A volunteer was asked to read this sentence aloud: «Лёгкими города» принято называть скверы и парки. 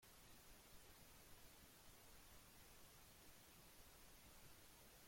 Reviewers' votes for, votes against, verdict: 0, 2, rejected